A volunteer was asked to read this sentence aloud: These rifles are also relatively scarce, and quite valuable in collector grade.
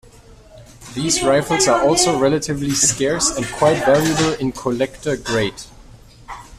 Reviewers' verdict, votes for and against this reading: accepted, 2, 0